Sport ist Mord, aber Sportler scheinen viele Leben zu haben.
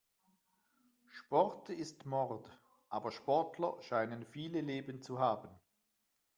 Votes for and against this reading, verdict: 2, 0, accepted